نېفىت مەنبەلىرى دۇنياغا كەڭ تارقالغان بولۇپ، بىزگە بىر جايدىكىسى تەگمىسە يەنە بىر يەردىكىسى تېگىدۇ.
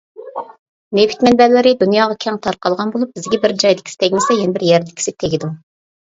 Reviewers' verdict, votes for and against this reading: accepted, 2, 0